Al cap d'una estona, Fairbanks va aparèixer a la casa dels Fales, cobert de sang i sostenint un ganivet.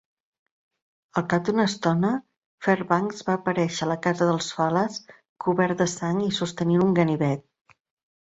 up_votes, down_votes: 4, 0